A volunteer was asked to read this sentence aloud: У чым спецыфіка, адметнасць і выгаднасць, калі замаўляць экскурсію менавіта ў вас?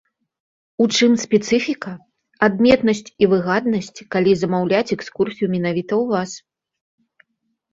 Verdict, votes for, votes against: rejected, 1, 2